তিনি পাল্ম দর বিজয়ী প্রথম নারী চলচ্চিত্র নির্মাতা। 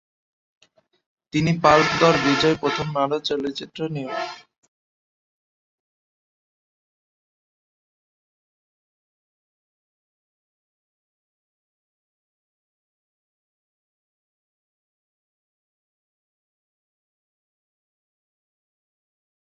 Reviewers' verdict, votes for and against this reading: rejected, 0, 3